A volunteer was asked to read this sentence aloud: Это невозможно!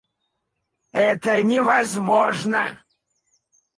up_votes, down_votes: 0, 4